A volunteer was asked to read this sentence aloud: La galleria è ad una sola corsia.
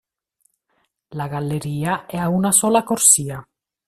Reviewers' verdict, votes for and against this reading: rejected, 1, 2